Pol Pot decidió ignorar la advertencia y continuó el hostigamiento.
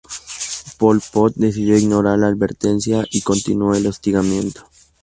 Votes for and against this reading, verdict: 2, 0, accepted